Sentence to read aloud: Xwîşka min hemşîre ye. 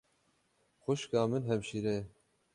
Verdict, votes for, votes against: rejected, 6, 6